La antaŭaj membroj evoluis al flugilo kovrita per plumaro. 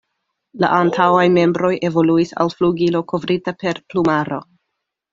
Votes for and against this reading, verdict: 2, 0, accepted